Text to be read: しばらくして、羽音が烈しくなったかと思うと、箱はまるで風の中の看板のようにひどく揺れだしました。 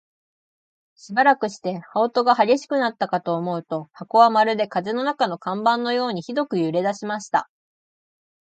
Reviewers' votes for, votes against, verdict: 2, 1, accepted